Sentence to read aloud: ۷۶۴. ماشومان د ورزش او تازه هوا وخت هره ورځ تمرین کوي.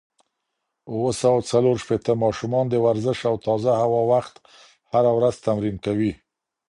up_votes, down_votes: 0, 2